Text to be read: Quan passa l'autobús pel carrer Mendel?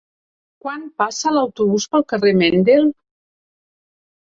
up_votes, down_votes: 3, 0